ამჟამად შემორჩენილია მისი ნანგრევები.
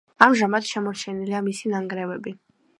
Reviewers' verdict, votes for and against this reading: accepted, 2, 0